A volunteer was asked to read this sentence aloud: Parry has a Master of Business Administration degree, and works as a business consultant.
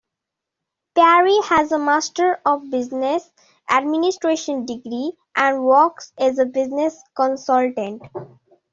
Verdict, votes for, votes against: accepted, 2, 0